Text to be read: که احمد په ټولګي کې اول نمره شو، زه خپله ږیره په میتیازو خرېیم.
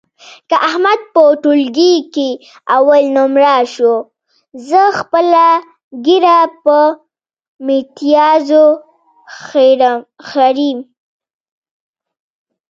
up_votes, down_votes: 1, 2